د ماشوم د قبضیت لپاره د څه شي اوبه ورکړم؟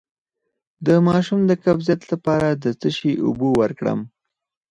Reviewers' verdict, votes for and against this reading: rejected, 0, 4